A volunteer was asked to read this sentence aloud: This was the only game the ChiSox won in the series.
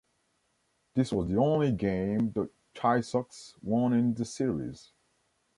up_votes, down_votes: 1, 2